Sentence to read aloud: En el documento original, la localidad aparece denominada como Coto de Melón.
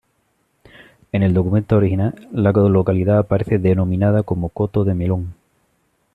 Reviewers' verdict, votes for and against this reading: rejected, 1, 2